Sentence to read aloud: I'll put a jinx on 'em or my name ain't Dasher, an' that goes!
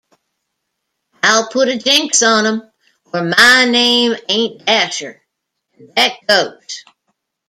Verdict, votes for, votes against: rejected, 1, 2